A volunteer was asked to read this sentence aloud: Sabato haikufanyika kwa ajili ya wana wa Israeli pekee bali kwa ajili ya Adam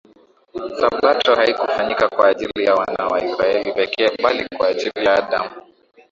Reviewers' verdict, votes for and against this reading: accepted, 15, 4